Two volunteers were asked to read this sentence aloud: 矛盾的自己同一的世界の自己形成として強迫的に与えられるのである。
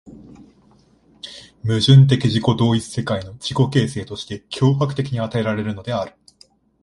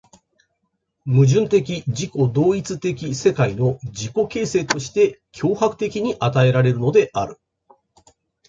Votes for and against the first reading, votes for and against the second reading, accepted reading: 1, 2, 2, 0, second